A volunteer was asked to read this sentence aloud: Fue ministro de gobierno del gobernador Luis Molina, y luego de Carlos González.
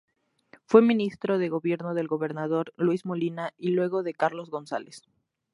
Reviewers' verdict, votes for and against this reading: accepted, 2, 0